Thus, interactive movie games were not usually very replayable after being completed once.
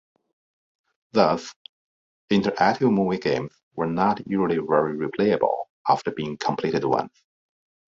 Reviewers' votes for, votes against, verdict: 2, 1, accepted